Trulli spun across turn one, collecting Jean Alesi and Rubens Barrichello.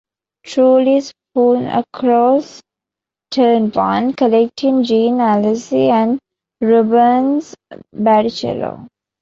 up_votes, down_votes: 2, 1